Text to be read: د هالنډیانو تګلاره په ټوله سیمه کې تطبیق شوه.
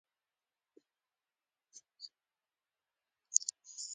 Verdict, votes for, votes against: rejected, 1, 2